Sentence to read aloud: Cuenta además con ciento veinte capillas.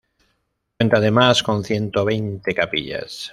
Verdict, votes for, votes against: rejected, 1, 2